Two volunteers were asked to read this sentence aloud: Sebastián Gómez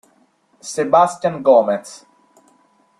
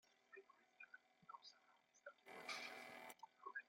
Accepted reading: first